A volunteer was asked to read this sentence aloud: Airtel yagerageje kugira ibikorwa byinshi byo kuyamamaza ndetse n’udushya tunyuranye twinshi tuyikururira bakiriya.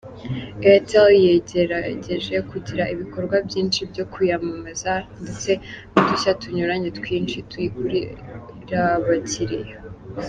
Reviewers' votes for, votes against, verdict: 1, 2, rejected